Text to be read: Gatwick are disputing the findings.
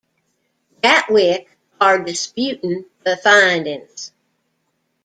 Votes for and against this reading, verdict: 2, 1, accepted